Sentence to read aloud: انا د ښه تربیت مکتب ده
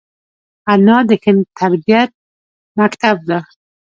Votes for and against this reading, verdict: 0, 2, rejected